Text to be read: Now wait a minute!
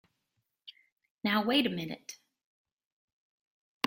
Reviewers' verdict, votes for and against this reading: accepted, 3, 0